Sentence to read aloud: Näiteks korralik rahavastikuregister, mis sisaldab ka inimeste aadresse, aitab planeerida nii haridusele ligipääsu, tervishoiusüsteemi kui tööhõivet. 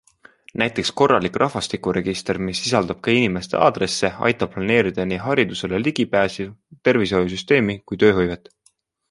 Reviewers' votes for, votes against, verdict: 2, 0, accepted